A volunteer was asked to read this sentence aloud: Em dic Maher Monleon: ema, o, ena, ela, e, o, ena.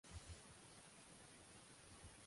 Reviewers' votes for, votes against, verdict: 1, 2, rejected